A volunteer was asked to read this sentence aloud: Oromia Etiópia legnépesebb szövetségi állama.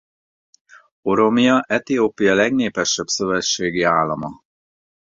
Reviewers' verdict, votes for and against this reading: accepted, 4, 0